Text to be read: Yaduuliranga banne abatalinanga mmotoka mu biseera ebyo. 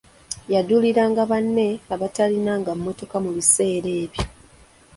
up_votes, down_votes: 2, 1